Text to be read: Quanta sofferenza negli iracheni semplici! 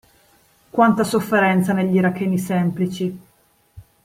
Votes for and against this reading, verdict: 2, 0, accepted